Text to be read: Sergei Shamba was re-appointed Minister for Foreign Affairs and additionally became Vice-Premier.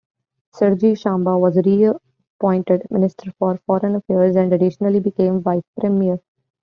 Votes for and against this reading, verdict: 1, 2, rejected